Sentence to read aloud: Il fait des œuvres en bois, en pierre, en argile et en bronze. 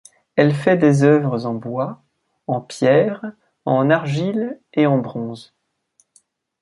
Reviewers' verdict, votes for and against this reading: rejected, 0, 2